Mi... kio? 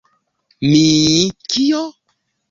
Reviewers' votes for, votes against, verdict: 2, 1, accepted